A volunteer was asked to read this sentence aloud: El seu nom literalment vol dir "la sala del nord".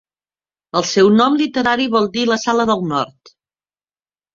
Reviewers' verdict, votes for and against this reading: rejected, 0, 3